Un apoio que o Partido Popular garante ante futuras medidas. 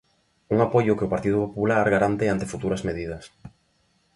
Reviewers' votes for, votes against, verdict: 2, 0, accepted